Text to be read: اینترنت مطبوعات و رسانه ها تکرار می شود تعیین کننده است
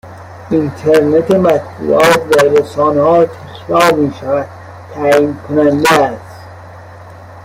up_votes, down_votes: 0, 2